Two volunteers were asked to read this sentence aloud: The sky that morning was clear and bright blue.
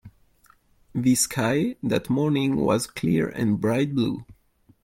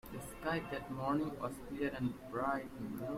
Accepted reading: first